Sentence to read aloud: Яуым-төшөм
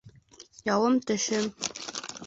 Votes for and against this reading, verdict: 2, 0, accepted